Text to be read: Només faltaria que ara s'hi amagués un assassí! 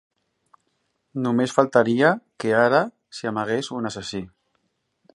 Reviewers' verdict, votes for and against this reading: accepted, 3, 0